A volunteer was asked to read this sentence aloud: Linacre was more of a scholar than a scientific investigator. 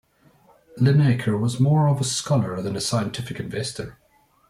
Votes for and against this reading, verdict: 0, 2, rejected